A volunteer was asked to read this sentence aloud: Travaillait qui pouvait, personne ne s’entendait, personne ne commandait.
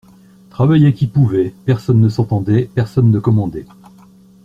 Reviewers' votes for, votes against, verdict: 2, 0, accepted